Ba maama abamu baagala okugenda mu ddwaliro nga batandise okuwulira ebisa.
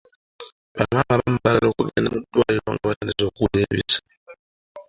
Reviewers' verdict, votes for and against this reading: accepted, 2, 1